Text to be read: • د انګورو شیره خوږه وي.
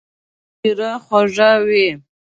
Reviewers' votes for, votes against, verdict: 0, 2, rejected